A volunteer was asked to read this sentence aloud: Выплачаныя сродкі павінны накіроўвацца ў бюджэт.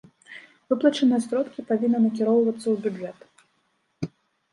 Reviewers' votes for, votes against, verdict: 2, 0, accepted